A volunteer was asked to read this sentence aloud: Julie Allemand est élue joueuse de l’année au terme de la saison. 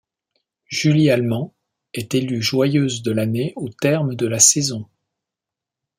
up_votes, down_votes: 0, 2